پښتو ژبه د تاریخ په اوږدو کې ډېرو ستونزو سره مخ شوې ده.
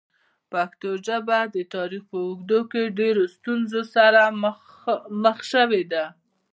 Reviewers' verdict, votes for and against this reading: accepted, 2, 0